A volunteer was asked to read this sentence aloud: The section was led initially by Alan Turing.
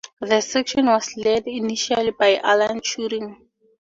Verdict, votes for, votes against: accepted, 4, 0